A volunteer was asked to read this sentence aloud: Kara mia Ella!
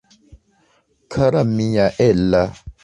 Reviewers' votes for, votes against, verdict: 2, 0, accepted